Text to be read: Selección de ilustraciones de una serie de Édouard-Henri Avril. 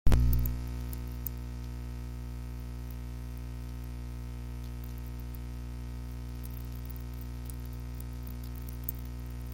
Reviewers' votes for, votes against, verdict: 0, 2, rejected